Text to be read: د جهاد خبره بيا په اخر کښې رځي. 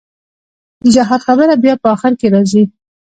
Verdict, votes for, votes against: rejected, 1, 2